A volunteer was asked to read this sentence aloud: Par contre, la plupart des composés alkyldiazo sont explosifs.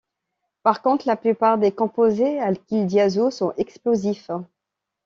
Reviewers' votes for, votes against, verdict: 2, 0, accepted